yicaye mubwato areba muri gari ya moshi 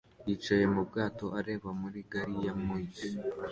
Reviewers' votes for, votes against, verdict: 2, 0, accepted